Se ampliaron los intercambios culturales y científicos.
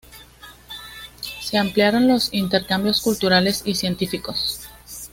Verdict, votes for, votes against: accepted, 2, 0